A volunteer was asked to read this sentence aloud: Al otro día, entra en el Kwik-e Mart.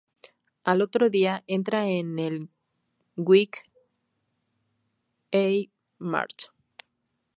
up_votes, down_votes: 2, 0